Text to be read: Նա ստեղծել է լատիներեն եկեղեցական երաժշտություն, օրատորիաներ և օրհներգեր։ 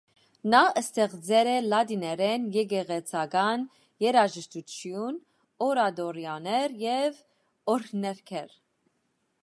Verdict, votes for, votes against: accepted, 2, 1